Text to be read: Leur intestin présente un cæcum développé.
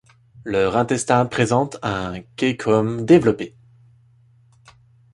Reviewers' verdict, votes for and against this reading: accepted, 2, 0